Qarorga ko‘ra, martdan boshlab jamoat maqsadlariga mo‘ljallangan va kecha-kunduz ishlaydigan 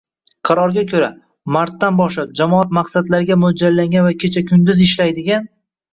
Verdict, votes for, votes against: accepted, 2, 0